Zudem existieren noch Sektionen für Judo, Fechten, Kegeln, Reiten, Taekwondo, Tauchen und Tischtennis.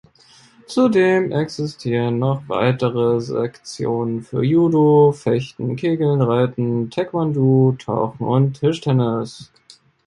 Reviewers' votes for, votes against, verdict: 1, 2, rejected